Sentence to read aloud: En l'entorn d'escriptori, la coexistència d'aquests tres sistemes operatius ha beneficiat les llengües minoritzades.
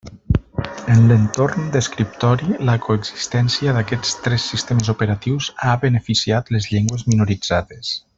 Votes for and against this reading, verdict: 1, 2, rejected